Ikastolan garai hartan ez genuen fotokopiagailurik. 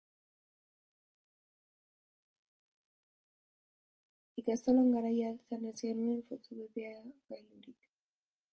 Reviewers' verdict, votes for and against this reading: rejected, 1, 4